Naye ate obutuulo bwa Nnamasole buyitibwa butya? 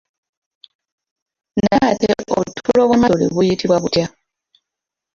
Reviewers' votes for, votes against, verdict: 0, 2, rejected